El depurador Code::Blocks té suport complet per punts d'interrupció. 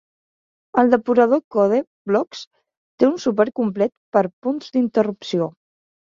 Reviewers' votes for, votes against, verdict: 1, 2, rejected